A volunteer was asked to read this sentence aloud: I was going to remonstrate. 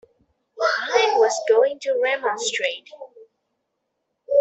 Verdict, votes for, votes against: rejected, 0, 2